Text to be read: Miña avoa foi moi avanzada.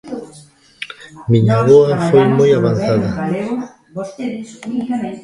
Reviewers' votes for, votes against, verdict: 0, 2, rejected